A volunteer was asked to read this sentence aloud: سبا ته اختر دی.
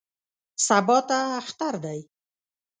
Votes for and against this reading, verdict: 2, 0, accepted